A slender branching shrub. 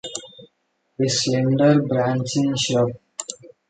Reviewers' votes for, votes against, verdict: 2, 0, accepted